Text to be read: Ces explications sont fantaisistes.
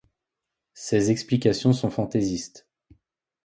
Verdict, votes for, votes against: accepted, 2, 0